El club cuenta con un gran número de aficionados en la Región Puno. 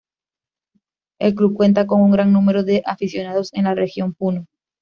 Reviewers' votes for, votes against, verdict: 2, 1, accepted